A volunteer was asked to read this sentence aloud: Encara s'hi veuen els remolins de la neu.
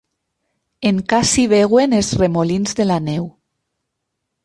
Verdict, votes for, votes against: rejected, 0, 6